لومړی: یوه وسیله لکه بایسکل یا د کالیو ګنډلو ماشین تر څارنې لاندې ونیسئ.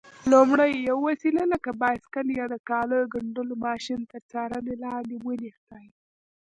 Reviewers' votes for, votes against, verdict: 1, 2, rejected